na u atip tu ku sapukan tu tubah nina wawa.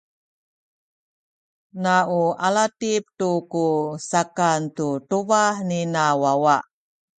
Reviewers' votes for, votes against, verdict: 0, 2, rejected